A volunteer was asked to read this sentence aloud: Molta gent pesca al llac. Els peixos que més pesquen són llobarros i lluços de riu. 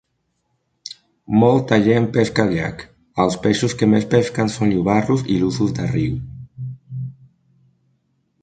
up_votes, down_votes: 2, 0